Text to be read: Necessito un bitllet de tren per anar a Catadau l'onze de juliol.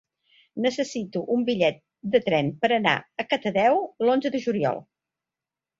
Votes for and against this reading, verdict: 3, 1, accepted